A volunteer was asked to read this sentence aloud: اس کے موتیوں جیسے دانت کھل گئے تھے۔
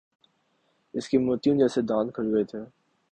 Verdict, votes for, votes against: accepted, 2, 1